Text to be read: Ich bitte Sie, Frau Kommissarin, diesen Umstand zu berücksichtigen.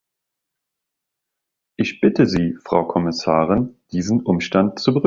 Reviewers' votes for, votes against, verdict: 0, 2, rejected